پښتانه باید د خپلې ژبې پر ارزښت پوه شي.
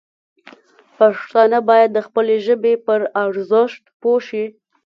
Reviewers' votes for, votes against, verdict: 2, 0, accepted